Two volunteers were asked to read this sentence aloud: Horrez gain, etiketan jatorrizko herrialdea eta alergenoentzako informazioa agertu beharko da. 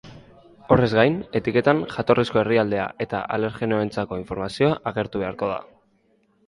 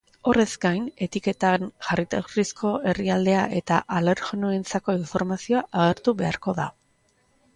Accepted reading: first